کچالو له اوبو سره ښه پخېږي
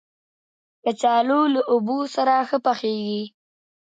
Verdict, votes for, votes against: accepted, 2, 0